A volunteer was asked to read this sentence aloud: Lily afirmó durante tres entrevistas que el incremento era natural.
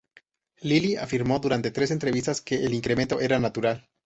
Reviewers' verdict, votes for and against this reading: accepted, 2, 0